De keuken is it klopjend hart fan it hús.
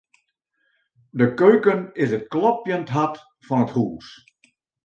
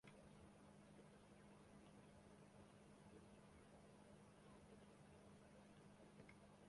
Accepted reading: first